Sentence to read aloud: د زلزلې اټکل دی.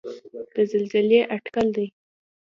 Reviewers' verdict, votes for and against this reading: accepted, 2, 0